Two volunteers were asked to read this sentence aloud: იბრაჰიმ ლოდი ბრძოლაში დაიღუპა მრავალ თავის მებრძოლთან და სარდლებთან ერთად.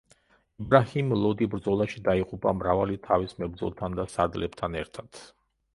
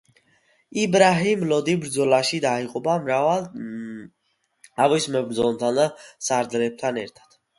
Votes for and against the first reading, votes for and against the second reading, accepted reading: 0, 2, 2, 1, second